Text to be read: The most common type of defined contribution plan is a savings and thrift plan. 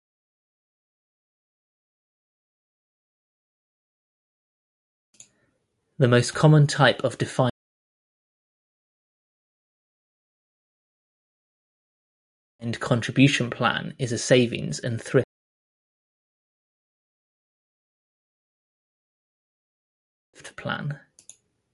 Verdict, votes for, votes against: rejected, 0, 2